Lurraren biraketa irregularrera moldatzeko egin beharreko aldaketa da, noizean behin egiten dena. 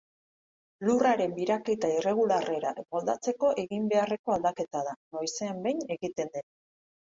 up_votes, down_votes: 0, 2